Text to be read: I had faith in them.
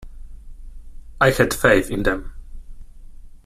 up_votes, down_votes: 2, 1